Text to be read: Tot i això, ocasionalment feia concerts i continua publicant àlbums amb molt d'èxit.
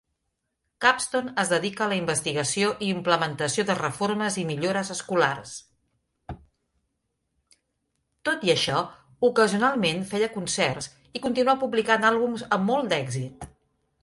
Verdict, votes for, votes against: rejected, 1, 2